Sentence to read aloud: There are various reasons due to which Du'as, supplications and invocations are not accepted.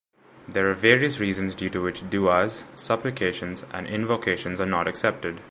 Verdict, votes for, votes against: accepted, 2, 0